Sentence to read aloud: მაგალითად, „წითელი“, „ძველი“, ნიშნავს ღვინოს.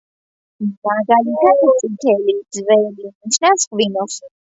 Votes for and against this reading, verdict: 2, 0, accepted